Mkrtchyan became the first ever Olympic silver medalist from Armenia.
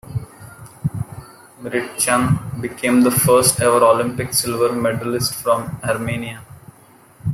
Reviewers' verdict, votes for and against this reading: rejected, 0, 2